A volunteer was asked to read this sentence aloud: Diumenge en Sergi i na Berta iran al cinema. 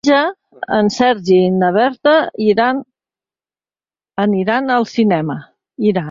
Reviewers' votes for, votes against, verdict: 1, 2, rejected